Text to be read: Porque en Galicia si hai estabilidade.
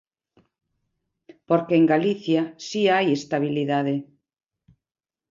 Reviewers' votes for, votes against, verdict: 2, 0, accepted